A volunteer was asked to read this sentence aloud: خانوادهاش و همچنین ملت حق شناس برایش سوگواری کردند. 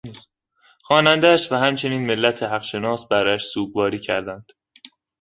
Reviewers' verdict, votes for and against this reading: rejected, 0, 2